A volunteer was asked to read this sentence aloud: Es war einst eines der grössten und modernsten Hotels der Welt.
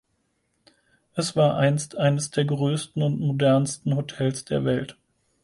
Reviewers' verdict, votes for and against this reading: accepted, 4, 0